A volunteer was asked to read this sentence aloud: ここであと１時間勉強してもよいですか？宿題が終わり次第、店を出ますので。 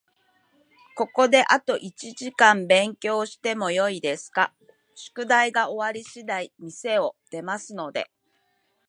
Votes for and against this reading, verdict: 0, 2, rejected